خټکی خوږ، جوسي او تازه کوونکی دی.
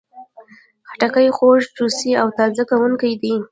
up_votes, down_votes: 1, 2